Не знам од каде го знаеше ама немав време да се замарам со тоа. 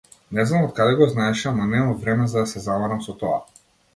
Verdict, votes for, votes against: rejected, 0, 2